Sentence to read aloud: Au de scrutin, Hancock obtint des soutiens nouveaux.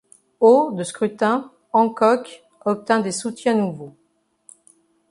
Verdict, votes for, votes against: accepted, 2, 0